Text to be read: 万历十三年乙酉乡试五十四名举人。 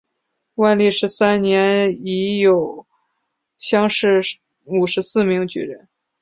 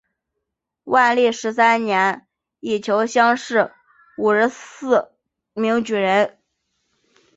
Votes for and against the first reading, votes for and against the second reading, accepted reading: 4, 0, 1, 3, first